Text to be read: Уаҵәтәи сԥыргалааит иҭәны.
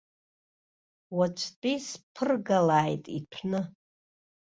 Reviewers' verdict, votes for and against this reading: accepted, 2, 0